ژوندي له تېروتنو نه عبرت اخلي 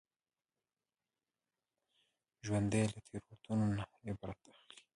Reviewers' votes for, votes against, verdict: 1, 2, rejected